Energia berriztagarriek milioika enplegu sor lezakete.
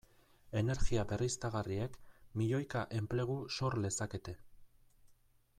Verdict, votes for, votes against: rejected, 0, 2